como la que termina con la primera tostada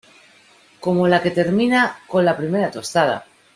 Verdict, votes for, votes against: accepted, 2, 1